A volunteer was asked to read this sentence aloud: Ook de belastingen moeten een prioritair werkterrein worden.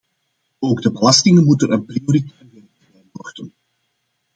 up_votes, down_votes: 0, 2